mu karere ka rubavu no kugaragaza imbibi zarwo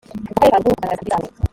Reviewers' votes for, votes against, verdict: 1, 2, rejected